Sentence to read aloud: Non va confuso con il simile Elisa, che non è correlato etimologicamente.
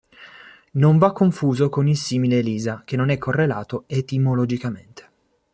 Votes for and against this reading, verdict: 2, 0, accepted